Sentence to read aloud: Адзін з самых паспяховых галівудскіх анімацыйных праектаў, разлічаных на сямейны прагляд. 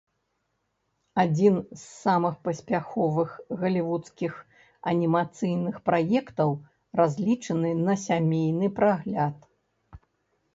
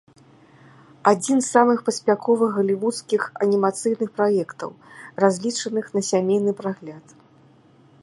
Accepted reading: second